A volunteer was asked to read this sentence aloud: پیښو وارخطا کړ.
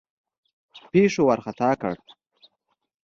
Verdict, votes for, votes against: accepted, 2, 0